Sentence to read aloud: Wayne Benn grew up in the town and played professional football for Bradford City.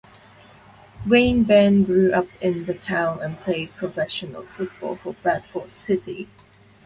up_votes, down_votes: 0, 2